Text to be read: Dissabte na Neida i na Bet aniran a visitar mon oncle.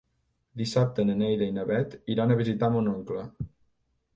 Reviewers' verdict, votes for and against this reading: rejected, 1, 2